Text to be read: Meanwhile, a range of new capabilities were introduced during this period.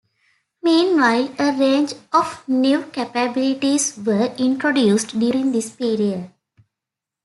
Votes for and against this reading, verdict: 2, 0, accepted